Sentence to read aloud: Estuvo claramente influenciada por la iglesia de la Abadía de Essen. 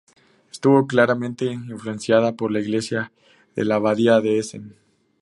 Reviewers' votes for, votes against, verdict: 2, 0, accepted